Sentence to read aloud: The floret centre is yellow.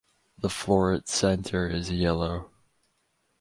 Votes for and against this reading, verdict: 4, 0, accepted